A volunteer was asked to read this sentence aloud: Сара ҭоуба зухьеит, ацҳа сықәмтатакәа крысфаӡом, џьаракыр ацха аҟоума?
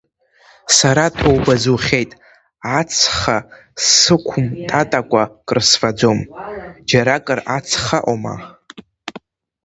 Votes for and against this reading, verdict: 2, 0, accepted